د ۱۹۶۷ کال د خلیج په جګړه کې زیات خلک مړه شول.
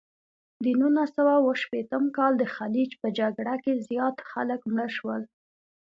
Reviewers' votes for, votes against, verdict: 0, 2, rejected